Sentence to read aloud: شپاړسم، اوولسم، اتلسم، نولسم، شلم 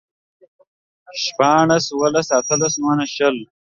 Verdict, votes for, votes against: rejected, 1, 2